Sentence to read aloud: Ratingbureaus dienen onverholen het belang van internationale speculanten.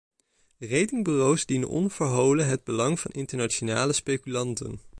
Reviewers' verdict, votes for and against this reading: accepted, 2, 0